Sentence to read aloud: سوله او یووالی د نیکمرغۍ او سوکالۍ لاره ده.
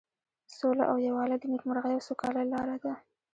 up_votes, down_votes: 3, 2